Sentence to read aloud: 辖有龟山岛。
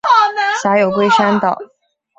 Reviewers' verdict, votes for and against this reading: rejected, 1, 2